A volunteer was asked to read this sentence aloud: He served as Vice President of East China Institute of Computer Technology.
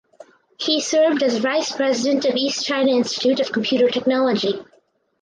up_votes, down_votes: 4, 0